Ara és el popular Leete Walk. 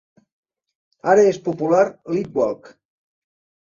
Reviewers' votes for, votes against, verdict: 2, 3, rejected